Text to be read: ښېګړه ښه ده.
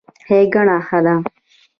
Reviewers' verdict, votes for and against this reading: accepted, 2, 0